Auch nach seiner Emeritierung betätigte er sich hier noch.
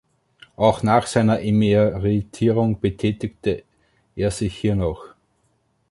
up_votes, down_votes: 2, 1